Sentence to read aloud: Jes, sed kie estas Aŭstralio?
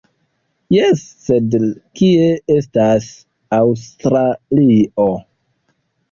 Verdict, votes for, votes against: rejected, 0, 2